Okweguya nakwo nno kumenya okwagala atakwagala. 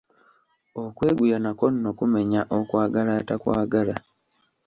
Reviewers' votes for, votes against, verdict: 2, 0, accepted